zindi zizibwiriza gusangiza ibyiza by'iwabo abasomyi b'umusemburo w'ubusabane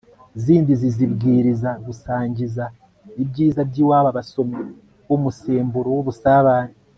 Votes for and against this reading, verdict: 2, 0, accepted